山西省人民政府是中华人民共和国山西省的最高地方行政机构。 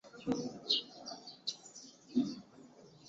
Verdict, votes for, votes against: rejected, 0, 2